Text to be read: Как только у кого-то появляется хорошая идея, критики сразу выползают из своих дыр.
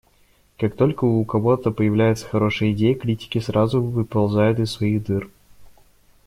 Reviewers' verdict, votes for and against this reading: accepted, 2, 0